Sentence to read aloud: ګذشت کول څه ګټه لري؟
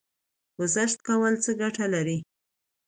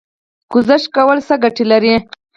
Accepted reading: first